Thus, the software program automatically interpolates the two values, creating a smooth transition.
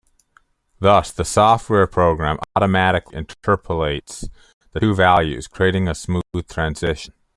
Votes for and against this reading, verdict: 1, 2, rejected